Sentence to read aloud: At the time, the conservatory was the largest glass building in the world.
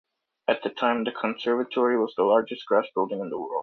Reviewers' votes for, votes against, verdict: 2, 0, accepted